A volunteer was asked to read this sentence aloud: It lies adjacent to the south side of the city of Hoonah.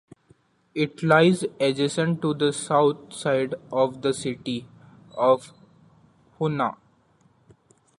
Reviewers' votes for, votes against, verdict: 2, 1, accepted